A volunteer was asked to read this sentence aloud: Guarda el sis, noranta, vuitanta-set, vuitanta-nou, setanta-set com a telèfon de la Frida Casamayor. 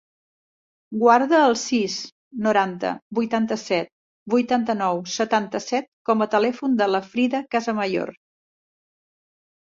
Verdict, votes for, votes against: accepted, 3, 0